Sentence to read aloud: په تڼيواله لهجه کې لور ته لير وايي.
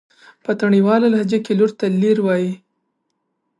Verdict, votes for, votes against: accepted, 3, 1